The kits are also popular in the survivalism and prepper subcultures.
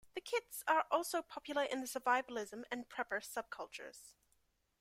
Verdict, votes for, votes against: accepted, 2, 0